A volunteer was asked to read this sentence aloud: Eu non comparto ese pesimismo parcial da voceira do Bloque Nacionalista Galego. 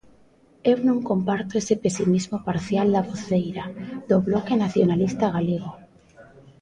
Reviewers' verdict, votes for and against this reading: accepted, 2, 0